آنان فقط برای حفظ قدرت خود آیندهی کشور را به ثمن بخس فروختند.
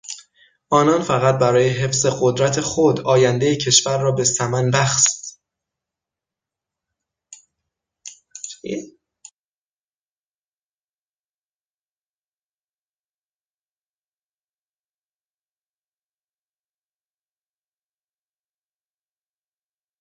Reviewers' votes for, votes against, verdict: 0, 6, rejected